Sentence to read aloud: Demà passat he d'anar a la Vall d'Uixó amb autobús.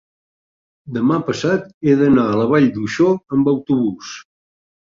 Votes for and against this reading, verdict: 4, 0, accepted